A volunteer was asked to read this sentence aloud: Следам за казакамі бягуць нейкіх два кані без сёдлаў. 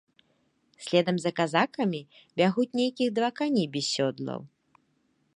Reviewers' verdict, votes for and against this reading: rejected, 1, 2